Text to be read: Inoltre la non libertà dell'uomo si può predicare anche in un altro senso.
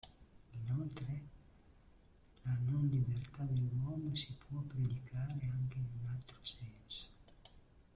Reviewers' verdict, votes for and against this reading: rejected, 1, 2